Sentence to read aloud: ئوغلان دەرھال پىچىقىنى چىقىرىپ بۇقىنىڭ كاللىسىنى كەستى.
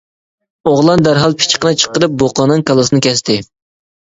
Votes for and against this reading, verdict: 1, 2, rejected